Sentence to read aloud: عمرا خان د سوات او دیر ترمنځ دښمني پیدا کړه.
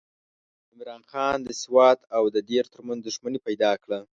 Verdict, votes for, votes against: rejected, 1, 2